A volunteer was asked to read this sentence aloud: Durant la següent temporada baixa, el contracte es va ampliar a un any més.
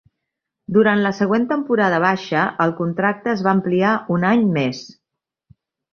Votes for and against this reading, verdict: 0, 3, rejected